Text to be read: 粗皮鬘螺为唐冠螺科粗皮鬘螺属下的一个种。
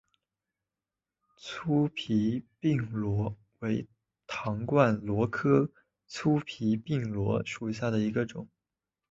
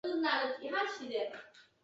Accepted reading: first